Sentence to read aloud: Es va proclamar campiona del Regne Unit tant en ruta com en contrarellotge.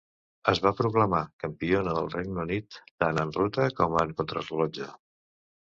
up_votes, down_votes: 0, 2